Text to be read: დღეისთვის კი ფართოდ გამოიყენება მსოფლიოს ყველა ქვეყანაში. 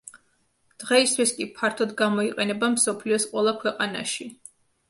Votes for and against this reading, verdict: 2, 0, accepted